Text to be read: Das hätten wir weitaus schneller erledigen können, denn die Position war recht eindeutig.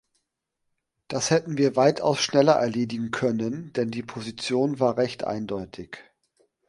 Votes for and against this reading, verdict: 2, 0, accepted